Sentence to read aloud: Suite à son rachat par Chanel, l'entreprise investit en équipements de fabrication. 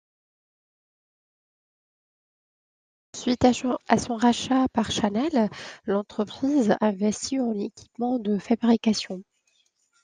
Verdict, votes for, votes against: rejected, 0, 2